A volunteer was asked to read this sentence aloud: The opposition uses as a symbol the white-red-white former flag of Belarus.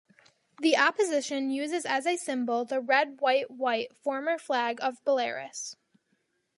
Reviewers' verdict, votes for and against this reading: rejected, 1, 2